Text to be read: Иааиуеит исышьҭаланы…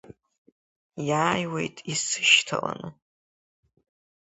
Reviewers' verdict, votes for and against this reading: accepted, 2, 1